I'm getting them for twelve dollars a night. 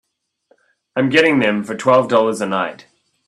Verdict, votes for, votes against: accepted, 3, 0